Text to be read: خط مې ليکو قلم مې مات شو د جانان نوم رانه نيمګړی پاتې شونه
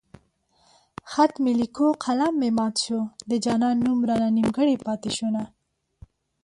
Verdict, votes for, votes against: accepted, 2, 0